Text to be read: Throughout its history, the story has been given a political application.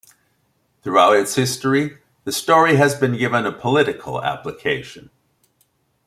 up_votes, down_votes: 2, 0